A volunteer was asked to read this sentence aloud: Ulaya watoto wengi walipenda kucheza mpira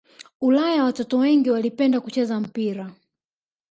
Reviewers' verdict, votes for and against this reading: rejected, 1, 2